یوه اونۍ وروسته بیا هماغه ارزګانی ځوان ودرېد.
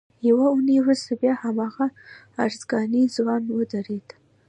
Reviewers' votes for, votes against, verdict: 2, 0, accepted